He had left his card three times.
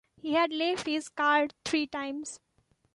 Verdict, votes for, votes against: accepted, 2, 0